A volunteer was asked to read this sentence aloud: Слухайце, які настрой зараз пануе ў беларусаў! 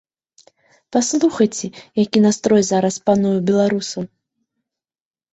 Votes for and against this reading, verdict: 1, 2, rejected